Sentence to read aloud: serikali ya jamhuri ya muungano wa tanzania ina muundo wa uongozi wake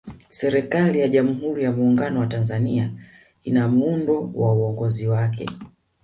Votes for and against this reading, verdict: 1, 2, rejected